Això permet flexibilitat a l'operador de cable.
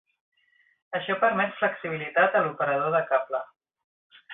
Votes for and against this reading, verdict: 3, 0, accepted